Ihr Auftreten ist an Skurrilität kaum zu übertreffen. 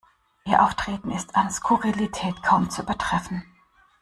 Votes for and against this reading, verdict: 2, 0, accepted